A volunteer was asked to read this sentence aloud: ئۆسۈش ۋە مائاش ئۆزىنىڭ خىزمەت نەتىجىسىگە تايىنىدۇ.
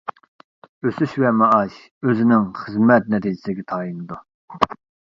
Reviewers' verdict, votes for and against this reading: accepted, 2, 0